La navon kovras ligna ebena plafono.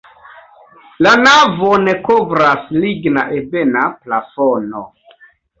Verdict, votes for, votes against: accepted, 2, 0